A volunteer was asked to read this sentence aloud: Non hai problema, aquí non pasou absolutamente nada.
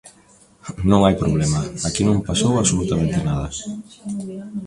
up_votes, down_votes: 2, 1